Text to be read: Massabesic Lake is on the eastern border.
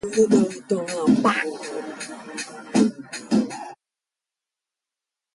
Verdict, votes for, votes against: rejected, 0, 2